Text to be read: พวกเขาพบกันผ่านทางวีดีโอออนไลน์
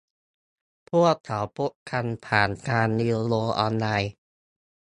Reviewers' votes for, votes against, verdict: 0, 2, rejected